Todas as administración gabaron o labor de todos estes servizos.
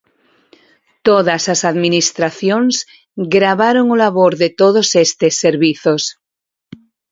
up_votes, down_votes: 2, 2